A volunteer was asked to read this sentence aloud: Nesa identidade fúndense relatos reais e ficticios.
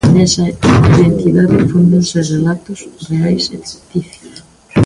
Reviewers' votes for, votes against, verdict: 0, 2, rejected